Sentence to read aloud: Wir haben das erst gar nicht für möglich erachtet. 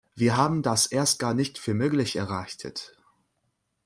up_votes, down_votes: 0, 2